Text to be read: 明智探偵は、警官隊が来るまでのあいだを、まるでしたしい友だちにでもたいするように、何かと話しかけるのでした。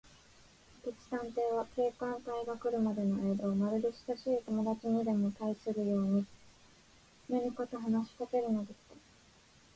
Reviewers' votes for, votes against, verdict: 0, 2, rejected